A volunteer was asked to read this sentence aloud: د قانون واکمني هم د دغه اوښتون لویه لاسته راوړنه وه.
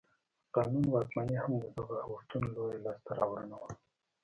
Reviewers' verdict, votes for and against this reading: rejected, 0, 2